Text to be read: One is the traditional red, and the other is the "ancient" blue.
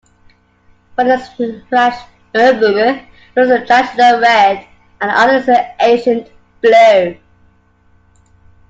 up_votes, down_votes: 1, 2